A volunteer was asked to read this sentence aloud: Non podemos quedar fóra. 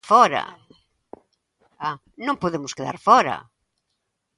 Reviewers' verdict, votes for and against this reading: rejected, 0, 2